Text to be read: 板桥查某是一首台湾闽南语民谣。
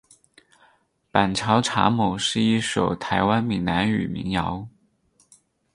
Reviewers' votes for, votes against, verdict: 4, 0, accepted